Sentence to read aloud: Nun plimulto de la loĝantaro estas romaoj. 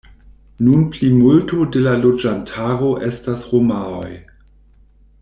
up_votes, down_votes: 2, 0